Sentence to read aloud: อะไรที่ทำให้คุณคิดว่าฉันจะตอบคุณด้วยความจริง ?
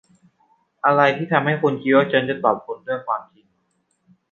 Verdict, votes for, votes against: rejected, 1, 2